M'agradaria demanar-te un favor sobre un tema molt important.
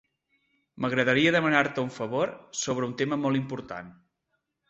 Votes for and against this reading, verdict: 2, 0, accepted